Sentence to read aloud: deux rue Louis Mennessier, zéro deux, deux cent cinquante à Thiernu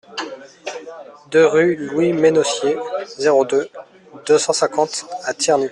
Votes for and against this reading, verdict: 1, 2, rejected